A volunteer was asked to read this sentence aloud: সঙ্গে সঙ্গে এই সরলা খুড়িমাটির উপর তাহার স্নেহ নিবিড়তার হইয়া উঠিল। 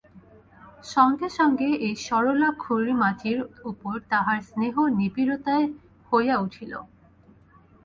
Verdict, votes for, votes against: accepted, 4, 2